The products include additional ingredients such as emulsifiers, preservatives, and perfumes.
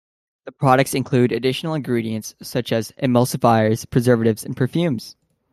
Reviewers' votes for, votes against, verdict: 2, 0, accepted